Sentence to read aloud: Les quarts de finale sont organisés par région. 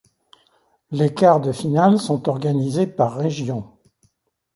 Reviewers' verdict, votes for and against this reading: accepted, 2, 0